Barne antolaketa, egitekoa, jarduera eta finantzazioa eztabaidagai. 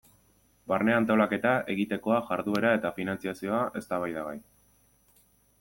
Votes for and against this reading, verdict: 2, 0, accepted